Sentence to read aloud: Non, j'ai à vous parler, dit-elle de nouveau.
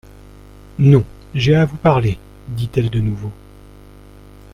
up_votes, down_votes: 2, 0